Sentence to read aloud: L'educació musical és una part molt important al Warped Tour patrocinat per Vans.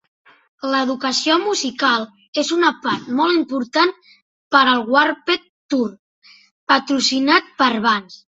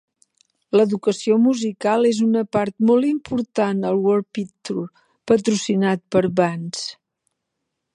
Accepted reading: second